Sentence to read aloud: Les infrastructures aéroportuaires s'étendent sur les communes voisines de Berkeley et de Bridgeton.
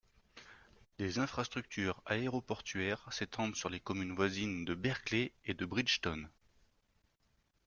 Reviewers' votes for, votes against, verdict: 2, 0, accepted